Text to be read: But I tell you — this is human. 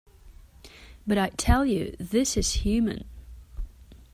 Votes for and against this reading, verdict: 2, 0, accepted